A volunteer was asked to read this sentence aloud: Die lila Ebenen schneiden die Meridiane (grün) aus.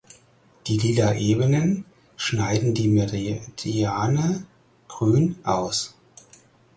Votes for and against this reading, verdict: 0, 4, rejected